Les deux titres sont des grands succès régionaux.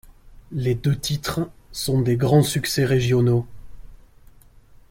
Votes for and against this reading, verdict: 2, 0, accepted